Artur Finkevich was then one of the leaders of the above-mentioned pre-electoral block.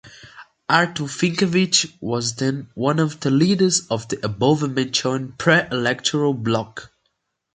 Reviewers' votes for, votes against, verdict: 2, 0, accepted